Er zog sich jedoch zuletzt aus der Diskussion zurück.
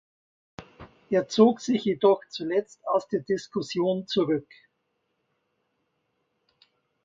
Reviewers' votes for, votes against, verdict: 2, 0, accepted